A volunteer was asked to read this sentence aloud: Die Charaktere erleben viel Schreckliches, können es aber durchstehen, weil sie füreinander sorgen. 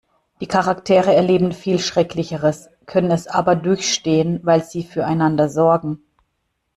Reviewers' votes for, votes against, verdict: 0, 2, rejected